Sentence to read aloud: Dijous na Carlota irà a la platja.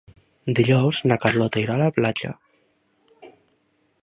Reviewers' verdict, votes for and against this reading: accepted, 2, 1